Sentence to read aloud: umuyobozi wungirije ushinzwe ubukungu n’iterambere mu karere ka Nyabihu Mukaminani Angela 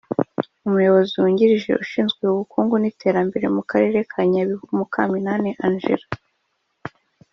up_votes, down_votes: 3, 0